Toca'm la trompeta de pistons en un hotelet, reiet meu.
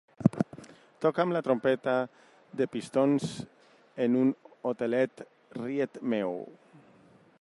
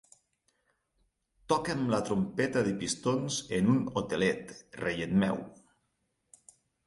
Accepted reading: second